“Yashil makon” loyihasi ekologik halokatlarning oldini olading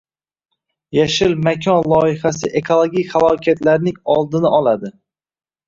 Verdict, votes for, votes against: rejected, 1, 2